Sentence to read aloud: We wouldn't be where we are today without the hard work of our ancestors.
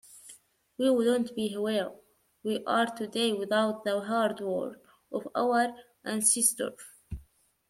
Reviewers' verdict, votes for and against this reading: rejected, 1, 2